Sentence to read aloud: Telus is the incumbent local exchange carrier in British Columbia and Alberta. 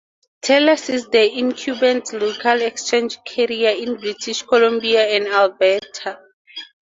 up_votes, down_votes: 4, 0